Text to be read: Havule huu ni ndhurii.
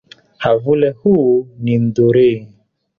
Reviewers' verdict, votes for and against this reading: rejected, 0, 2